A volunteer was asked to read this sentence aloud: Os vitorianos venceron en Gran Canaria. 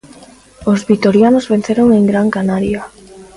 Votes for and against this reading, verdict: 2, 0, accepted